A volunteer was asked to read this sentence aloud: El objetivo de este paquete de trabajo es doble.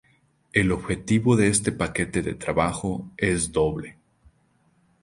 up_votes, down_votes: 2, 0